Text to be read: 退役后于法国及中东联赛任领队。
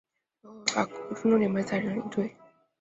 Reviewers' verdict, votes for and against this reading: rejected, 1, 3